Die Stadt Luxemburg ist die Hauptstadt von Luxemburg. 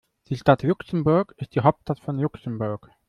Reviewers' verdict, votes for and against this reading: rejected, 1, 2